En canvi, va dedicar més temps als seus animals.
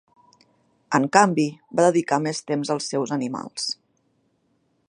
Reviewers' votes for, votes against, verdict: 3, 0, accepted